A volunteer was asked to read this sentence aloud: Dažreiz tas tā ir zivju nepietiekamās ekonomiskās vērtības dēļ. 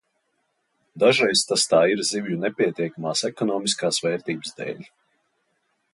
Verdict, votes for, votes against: accepted, 2, 0